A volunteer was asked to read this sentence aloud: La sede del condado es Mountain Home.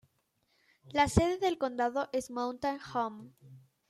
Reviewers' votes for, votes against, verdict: 2, 0, accepted